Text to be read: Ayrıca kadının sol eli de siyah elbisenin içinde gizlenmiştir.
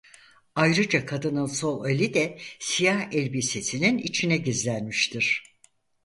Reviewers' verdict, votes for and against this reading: rejected, 2, 4